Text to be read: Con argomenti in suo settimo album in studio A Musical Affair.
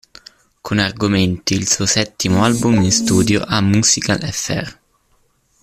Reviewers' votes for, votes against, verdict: 0, 2, rejected